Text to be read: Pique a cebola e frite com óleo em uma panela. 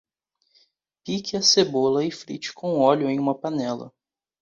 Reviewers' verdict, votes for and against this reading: accepted, 2, 0